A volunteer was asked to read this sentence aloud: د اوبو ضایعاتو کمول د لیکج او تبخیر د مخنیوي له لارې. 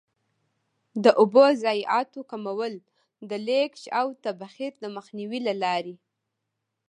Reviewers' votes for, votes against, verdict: 1, 2, rejected